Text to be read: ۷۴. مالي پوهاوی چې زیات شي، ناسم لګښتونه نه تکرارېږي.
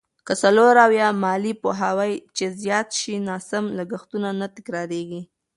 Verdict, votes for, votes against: rejected, 0, 2